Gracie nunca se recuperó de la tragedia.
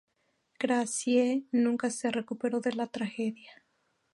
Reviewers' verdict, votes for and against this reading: rejected, 0, 2